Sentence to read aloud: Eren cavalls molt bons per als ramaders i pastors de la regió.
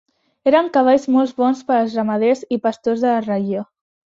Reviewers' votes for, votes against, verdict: 0, 2, rejected